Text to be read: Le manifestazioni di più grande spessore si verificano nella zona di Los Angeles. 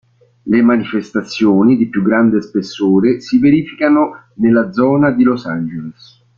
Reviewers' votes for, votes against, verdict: 3, 1, accepted